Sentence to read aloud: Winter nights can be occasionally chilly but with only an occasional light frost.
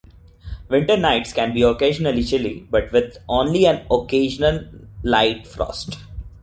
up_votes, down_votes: 0, 2